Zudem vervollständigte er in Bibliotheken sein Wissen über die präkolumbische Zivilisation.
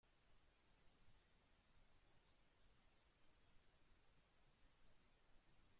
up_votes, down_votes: 0, 2